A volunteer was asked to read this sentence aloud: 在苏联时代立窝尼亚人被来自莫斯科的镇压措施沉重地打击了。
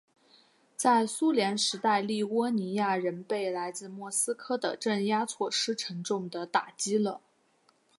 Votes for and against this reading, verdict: 3, 1, accepted